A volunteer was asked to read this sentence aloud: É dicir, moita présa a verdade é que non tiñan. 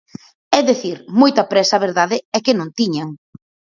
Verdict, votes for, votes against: accepted, 4, 2